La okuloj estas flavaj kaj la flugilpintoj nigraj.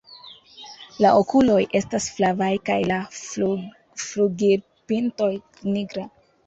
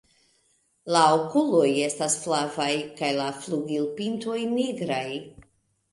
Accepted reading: second